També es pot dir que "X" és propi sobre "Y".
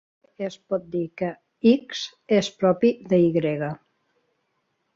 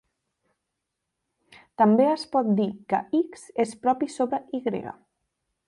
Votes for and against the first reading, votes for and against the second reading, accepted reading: 0, 4, 3, 1, second